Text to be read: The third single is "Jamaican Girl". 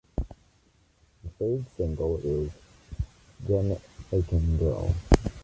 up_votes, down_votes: 2, 0